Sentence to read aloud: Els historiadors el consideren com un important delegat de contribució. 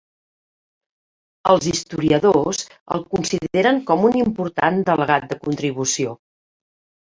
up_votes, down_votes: 3, 0